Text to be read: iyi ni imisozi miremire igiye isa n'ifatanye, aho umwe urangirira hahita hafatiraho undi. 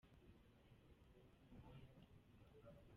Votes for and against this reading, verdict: 0, 2, rejected